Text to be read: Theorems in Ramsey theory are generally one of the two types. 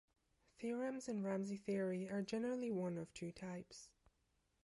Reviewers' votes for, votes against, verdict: 1, 2, rejected